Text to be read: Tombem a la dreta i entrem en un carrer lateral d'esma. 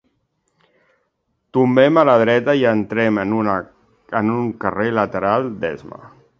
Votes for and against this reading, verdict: 0, 2, rejected